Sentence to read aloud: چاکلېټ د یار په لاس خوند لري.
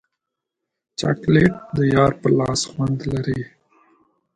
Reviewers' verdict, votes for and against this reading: accepted, 2, 0